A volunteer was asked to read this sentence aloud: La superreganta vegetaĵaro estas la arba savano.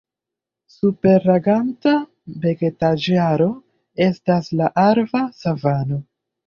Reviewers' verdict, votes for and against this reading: rejected, 0, 2